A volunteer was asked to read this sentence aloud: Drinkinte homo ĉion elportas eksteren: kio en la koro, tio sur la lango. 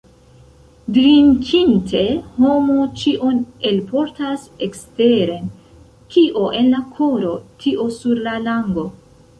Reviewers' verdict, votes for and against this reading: rejected, 1, 2